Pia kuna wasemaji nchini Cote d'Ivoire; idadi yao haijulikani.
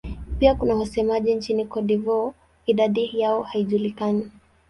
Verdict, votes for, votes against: rejected, 0, 2